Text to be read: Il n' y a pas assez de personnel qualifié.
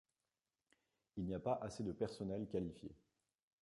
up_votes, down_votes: 2, 1